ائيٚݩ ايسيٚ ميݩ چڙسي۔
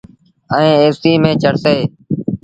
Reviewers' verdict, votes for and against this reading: accepted, 2, 0